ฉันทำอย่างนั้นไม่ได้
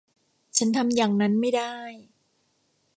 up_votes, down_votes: 2, 0